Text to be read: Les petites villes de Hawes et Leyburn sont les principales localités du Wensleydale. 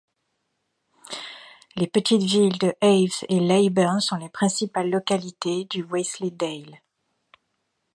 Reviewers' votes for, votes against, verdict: 2, 0, accepted